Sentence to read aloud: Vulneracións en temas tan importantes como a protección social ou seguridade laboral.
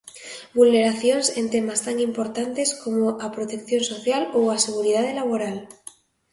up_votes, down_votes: 0, 2